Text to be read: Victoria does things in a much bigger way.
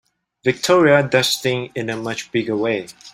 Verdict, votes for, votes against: rejected, 0, 2